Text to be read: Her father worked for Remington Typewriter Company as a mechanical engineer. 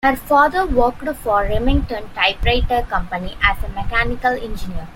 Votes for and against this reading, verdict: 1, 2, rejected